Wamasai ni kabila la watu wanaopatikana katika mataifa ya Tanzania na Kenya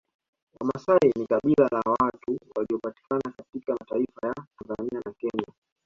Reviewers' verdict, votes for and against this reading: rejected, 1, 3